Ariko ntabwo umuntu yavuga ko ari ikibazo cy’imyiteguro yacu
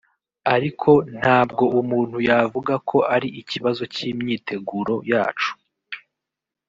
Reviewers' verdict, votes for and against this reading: accepted, 2, 1